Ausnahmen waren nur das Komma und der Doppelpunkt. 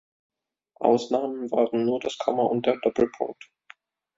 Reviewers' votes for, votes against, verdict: 2, 0, accepted